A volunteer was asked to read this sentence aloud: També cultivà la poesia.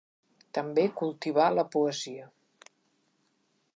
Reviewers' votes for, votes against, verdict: 2, 0, accepted